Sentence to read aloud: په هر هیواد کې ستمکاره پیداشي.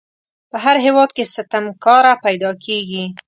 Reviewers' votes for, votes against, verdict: 1, 2, rejected